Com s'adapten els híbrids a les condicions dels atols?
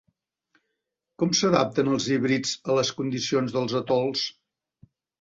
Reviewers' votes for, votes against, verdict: 2, 0, accepted